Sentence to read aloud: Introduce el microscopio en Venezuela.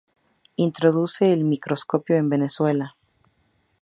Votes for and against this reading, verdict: 4, 0, accepted